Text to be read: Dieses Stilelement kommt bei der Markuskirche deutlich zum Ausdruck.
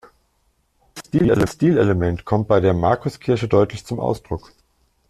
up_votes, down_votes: 0, 2